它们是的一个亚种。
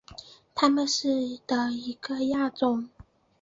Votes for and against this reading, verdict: 3, 0, accepted